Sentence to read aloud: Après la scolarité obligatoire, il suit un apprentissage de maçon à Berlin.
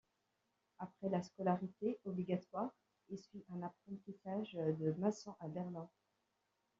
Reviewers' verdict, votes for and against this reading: rejected, 1, 2